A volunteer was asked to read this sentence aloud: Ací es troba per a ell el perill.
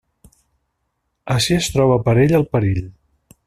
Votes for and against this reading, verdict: 2, 0, accepted